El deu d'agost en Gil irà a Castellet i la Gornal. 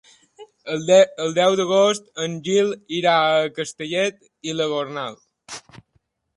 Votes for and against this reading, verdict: 0, 2, rejected